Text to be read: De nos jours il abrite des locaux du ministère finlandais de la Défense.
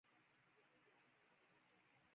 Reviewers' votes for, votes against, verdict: 1, 2, rejected